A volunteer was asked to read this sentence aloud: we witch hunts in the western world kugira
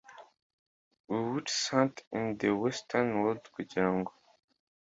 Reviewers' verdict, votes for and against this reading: rejected, 1, 2